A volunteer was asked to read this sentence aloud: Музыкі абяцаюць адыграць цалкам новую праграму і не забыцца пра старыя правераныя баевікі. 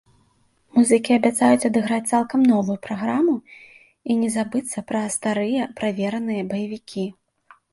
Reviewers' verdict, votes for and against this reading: accepted, 2, 0